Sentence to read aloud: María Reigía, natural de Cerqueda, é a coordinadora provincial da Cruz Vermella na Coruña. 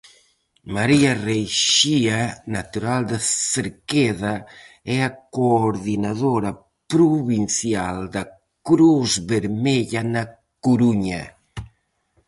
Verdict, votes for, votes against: rejected, 0, 4